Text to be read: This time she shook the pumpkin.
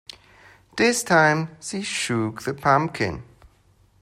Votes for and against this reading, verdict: 1, 2, rejected